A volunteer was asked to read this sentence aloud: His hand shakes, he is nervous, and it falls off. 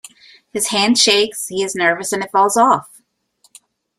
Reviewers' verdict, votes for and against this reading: accepted, 2, 0